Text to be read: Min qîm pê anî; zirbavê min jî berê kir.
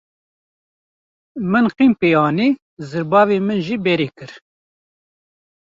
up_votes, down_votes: 1, 2